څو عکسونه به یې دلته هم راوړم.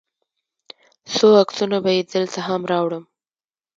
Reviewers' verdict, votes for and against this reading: accepted, 2, 1